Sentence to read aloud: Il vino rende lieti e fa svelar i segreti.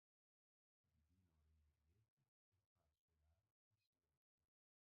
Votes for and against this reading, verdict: 0, 2, rejected